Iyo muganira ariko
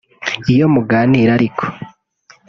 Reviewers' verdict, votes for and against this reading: accepted, 2, 0